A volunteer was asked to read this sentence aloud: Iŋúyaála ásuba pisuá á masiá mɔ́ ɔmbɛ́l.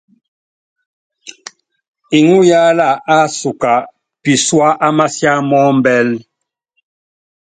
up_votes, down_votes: 2, 0